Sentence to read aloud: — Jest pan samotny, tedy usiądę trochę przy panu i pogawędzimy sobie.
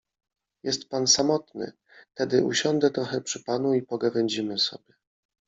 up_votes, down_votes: 1, 2